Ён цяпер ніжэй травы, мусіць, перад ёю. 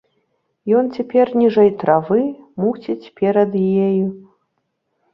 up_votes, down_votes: 0, 2